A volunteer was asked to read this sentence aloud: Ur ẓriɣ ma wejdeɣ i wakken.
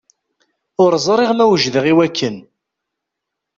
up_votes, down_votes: 2, 0